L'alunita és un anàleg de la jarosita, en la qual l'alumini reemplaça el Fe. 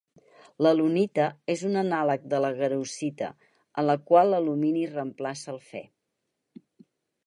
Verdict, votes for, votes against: rejected, 2, 4